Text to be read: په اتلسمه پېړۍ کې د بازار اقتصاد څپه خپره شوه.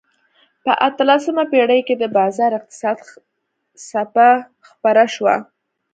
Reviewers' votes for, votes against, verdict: 2, 1, accepted